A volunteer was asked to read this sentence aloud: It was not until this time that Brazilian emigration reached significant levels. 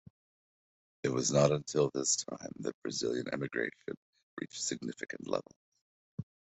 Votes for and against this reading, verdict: 2, 1, accepted